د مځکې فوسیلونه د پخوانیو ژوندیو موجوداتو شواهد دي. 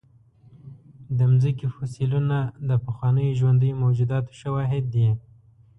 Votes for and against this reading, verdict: 1, 2, rejected